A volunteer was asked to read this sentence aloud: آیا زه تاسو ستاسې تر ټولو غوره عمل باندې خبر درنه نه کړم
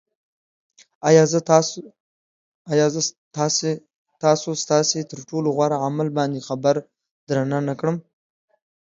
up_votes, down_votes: 2, 1